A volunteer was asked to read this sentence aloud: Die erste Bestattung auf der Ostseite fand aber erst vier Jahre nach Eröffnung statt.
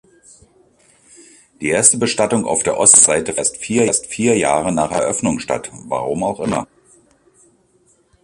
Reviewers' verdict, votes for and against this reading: rejected, 0, 2